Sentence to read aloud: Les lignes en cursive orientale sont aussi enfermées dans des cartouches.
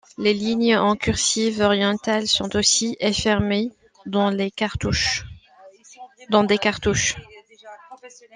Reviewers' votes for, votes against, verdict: 0, 2, rejected